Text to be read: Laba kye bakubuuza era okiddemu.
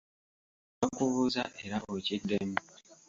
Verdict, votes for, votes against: rejected, 0, 2